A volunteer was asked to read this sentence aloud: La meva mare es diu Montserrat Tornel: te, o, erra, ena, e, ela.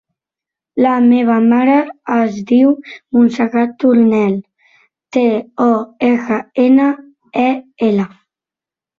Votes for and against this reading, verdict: 4, 1, accepted